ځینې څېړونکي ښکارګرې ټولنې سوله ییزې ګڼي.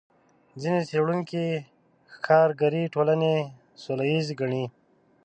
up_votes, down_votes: 0, 2